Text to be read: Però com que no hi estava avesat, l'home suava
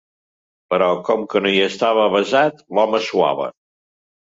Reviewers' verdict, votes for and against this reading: accepted, 2, 0